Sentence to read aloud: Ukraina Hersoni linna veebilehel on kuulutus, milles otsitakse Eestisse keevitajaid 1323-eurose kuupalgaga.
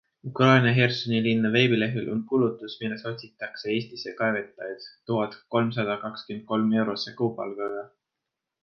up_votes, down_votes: 0, 2